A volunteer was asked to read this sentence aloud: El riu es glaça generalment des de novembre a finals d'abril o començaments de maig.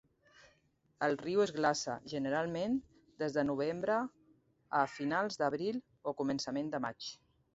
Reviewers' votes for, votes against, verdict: 1, 2, rejected